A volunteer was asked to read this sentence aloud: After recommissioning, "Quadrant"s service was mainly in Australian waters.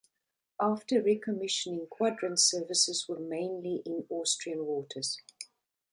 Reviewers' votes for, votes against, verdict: 0, 2, rejected